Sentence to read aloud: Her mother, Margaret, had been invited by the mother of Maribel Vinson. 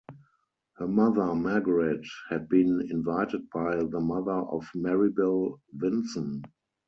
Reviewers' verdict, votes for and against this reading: accepted, 4, 0